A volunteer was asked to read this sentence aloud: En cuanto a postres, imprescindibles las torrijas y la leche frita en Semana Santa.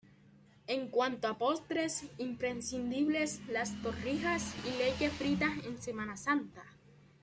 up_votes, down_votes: 1, 2